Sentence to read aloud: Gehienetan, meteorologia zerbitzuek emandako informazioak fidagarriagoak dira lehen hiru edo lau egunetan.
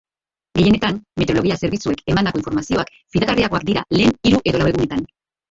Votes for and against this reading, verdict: 2, 1, accepted